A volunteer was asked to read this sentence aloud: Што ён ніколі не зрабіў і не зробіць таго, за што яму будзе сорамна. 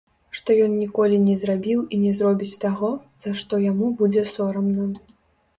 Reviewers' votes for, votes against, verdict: 2, 1, accepted